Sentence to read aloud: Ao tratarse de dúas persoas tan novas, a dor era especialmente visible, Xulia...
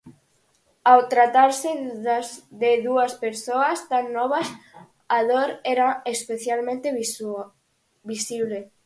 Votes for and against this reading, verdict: 0, 4, rejected